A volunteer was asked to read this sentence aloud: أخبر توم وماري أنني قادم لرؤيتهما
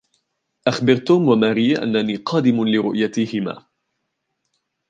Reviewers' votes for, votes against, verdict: 2, 0, accepted